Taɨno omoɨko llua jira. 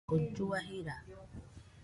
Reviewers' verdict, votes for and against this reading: rejected, 0, 2